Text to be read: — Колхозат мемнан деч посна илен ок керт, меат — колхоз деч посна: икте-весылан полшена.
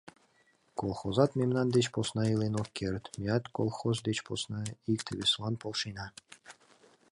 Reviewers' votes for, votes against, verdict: 2, 1, accepted